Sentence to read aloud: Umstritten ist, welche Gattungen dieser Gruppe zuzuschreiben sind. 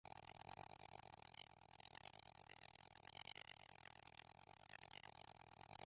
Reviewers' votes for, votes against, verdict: 0, 2, rejected